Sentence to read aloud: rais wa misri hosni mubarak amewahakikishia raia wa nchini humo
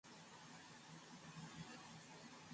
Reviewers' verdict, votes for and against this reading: rejected, 0, 2